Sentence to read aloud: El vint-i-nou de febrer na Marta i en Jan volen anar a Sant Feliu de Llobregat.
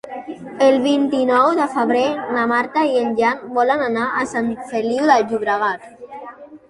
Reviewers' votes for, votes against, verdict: 2, 1, accepted